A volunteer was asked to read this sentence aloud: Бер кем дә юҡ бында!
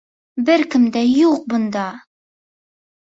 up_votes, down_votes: 2, 0